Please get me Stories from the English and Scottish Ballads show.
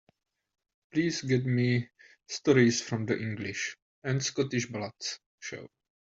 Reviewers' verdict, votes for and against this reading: accepted, 2, 0